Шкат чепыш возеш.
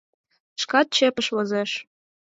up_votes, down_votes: 4, 0